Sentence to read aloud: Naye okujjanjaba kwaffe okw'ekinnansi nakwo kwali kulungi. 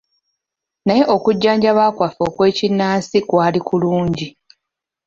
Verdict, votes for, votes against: rejected, 1, 2